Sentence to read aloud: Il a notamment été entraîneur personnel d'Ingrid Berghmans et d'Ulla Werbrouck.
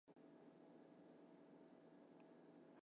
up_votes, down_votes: 0, 2